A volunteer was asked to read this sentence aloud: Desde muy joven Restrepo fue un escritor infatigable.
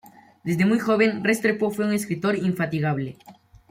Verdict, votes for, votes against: accepted, 2, 0